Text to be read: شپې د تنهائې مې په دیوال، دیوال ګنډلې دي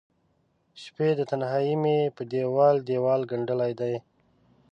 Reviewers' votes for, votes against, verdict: 1, 2, rejected